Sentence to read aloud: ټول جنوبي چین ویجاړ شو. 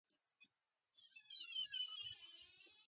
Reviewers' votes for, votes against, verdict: 0, 2, rejected